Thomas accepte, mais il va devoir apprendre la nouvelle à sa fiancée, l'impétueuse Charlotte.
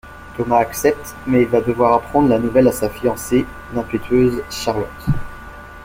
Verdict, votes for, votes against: accepted, 2, 0